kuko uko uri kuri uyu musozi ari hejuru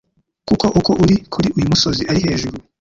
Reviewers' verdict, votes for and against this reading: rejected, 1, 2